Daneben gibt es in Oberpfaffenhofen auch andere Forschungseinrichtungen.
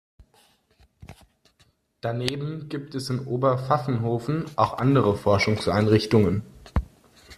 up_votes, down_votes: 2, 0